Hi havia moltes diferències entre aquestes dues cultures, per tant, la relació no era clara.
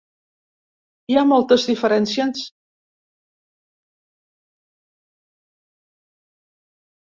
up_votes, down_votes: 0, 2